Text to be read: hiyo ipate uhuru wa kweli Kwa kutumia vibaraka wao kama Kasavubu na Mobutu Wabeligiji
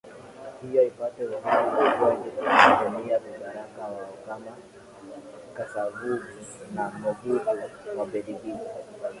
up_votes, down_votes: 2, 2